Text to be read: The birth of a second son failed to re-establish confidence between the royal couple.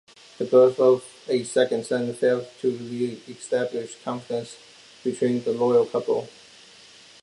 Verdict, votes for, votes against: accepted, 2, 0